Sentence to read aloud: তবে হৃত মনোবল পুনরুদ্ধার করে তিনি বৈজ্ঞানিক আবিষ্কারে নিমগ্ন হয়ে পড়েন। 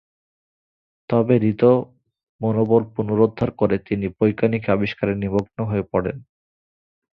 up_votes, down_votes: 2, 0